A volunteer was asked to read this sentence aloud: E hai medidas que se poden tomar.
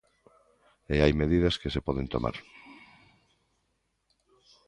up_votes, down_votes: 2, 0